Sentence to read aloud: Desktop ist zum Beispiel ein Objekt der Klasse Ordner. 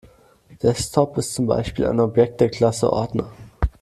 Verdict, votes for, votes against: accepted, 2, 0